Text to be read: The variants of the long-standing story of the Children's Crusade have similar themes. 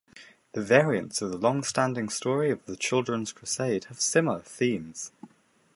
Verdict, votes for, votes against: accepted, 2, 0